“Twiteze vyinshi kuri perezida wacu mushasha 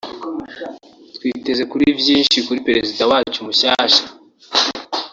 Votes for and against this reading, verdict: 0, 2, rejected